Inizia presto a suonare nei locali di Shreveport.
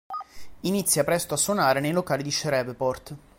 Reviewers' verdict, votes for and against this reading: rejected, 0, 2